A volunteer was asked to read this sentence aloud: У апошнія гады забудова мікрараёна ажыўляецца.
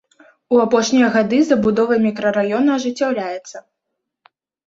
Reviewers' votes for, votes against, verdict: 2, 3, rejected